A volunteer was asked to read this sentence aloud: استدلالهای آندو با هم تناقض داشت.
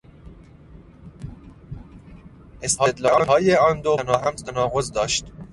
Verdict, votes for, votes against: rejected, 0, 2